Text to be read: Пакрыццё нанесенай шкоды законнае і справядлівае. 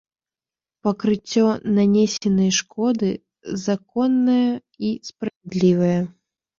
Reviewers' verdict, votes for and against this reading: rejected, 0, 2